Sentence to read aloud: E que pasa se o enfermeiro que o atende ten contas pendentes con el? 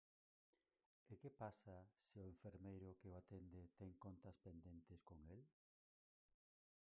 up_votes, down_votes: 0, 4